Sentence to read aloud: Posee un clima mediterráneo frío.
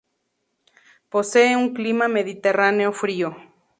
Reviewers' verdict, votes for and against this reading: accepted, 2, 0